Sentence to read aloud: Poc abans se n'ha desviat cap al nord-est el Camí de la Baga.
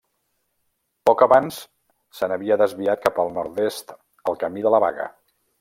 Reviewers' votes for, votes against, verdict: 1, 2, rejected